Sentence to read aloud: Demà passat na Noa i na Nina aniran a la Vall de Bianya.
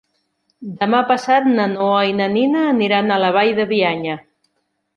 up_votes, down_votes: 3, 0